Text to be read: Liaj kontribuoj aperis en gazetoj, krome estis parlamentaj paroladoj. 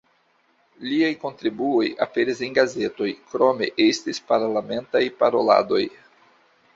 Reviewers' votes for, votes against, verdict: 2, 0, accepted